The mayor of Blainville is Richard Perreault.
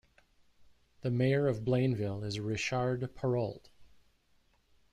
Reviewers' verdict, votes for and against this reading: rejected, 1, 2